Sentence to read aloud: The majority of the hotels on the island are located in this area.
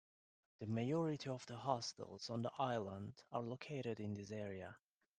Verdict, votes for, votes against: rejected, 0, 2